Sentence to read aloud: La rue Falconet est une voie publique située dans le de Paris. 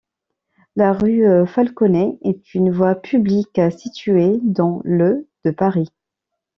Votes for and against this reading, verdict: 1, 2, rejected